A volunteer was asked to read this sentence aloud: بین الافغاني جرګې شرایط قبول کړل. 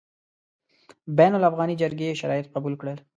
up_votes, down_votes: 2, 0